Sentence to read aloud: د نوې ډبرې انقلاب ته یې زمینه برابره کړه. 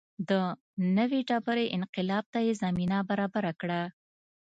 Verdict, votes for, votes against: accepted, 2, 0